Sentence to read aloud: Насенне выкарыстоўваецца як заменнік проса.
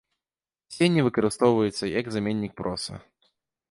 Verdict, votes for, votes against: rejected, 1, 2